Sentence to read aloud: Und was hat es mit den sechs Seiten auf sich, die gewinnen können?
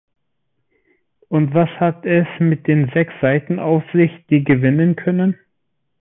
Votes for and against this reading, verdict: 2, 0, accepted